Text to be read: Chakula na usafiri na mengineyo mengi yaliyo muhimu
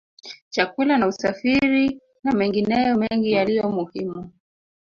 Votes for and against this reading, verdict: 1, 2, rejected